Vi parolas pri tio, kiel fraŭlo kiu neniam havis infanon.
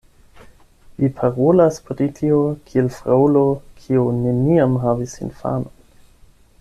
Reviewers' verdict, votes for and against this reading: accepted, 8, 0